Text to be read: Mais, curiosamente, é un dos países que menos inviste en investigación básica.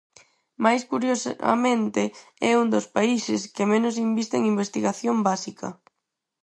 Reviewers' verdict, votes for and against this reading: rejected, 2, 4